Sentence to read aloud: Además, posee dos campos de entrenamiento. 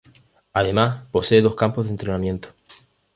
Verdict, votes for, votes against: accepted, 2, 0